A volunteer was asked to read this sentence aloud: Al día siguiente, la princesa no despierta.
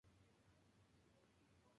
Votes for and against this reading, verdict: 0, 2, rejected